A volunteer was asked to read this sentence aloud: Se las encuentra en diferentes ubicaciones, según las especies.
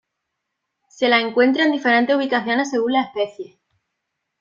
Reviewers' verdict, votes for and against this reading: rejected, 1, 2